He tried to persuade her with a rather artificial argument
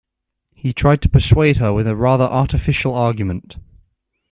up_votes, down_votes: 2, 0